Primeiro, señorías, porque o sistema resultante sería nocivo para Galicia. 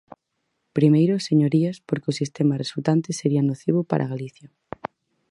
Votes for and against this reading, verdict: 4, 0, accepted